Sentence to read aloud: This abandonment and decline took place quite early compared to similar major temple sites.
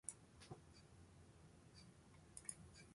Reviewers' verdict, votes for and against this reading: rejected, 0, 2